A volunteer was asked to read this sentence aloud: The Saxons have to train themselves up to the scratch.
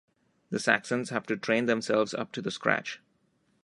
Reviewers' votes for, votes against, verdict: 2, 0, accepted